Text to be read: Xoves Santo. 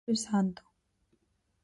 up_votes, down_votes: 0, 4